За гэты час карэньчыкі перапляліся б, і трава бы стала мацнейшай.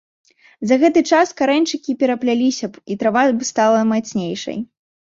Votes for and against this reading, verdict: 2, 0, accepted